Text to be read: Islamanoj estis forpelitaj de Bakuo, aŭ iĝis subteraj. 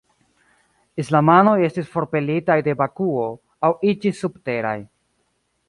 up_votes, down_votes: 2, 0